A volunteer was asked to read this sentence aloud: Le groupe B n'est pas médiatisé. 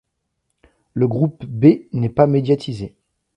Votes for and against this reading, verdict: 2, 0, accepted